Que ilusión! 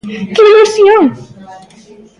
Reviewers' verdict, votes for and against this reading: accepted, 2, 1